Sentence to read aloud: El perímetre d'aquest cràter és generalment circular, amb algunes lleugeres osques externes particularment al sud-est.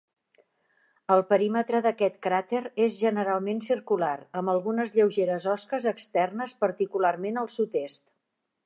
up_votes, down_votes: 2, 0